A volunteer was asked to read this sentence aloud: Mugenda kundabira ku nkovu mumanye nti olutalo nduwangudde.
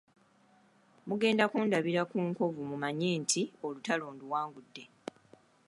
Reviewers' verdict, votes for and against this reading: accepted, 2, 1